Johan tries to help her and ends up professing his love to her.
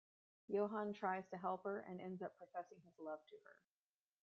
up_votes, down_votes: 1, 2